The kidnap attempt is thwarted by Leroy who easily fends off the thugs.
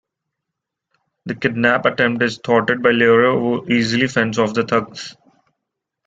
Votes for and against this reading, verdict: 2, 1, accepted